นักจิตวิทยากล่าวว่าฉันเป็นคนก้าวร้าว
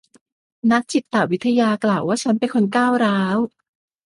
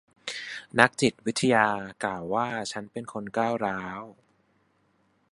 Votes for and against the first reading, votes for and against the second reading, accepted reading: 1, 2, 4, 1, second